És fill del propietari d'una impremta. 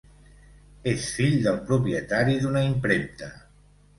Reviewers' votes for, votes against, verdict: 2, 0, accepted